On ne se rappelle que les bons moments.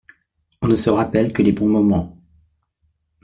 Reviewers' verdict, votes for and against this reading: accepted, 2, 0